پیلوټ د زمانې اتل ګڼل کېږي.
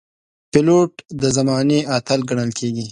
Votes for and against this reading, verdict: 2, 0, accepted